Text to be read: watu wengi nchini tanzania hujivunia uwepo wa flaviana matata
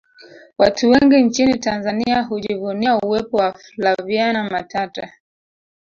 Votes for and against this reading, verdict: 2, 0, accepted